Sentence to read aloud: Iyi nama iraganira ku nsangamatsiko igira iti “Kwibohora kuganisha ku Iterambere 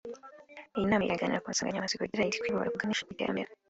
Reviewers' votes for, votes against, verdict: 1, 2, rejected